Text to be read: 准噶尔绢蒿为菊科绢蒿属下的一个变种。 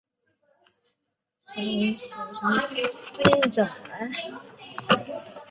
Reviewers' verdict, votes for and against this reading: rejected, 0, 2